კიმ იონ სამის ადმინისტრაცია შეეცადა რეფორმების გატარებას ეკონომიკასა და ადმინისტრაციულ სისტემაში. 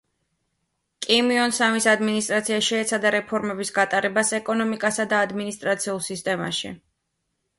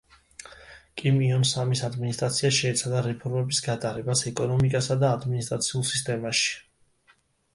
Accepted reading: second